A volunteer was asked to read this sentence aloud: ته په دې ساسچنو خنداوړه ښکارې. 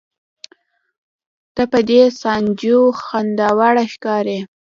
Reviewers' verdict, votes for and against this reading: rejected, 1, 2